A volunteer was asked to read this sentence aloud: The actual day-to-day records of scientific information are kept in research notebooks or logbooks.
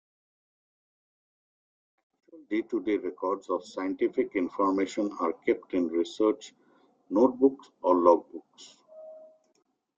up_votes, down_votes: 0, 2